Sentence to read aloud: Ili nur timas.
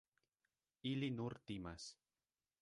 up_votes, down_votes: 0, 2